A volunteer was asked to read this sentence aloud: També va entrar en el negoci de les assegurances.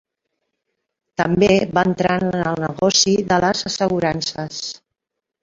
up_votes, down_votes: 0, 2